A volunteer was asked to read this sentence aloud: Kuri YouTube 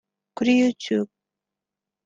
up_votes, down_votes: 2, 0